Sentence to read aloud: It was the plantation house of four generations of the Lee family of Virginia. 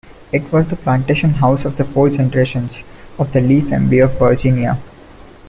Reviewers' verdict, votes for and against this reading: rejected, 1, 2